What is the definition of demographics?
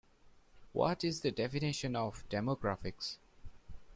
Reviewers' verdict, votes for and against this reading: accepted, 2, 0